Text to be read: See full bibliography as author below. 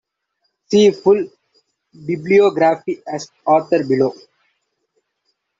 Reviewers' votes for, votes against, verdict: 2, 1, accepted